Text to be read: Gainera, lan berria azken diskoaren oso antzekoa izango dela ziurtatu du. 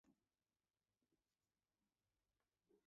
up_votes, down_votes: 0, 2